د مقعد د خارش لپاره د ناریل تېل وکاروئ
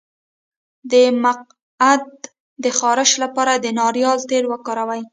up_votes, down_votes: 1, 2